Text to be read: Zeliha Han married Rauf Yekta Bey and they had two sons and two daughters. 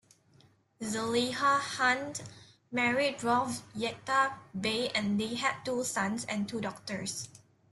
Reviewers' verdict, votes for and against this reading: accepted, 2, 0